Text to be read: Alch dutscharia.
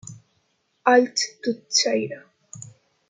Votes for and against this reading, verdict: 0, 2, rejected